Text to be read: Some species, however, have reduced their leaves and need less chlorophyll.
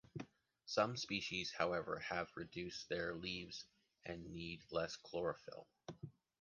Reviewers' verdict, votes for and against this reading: accepted, 2, 0